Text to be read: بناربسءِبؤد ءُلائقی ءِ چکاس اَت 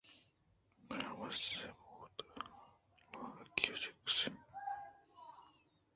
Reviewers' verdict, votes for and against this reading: rejected, 1, 2